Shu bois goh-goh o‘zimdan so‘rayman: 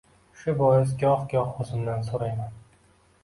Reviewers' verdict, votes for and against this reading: accepted, 2, 0